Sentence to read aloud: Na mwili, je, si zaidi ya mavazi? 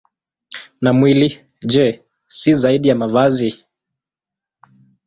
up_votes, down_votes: 2, 1